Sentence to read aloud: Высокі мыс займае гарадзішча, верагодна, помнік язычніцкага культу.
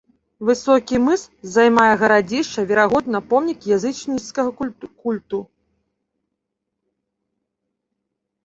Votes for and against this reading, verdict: 0, 2, rejected